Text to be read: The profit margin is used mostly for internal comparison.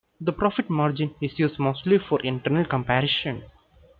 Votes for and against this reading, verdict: 2, 0, accepted